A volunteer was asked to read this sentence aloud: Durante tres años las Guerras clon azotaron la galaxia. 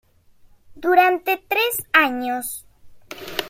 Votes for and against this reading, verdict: 0, 2, rejected